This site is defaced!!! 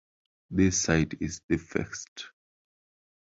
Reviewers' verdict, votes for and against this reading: rejected, 0, 2